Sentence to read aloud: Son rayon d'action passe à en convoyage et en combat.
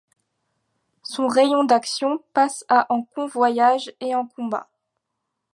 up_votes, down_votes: 2, 0